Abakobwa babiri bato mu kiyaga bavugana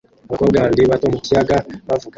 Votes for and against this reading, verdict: 0, 2, rejected